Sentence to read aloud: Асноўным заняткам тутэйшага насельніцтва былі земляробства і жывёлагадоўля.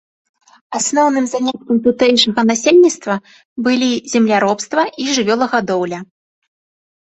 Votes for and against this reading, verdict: 2, 0, accepted